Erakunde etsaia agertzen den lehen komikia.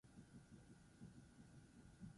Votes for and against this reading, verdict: 2, 6, rejected